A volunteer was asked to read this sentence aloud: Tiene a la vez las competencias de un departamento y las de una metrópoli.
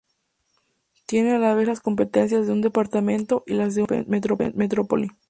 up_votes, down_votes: 2, 0